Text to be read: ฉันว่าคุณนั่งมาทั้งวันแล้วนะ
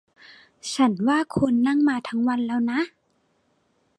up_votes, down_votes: 2, 0